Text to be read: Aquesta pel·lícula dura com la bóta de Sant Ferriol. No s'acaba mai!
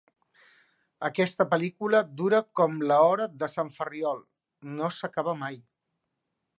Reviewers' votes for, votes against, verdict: 1, 2, rejected